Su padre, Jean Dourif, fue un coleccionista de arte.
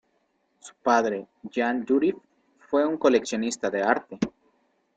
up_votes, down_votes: 2, 0